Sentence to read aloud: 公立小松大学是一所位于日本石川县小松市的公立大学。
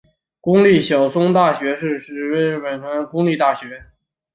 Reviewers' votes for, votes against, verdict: 1, 2, rejected